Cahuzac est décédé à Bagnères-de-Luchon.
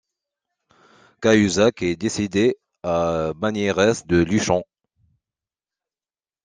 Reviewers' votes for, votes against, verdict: 2, 0, accepted